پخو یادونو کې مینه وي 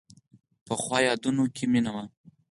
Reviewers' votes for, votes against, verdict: 4, 0, accepted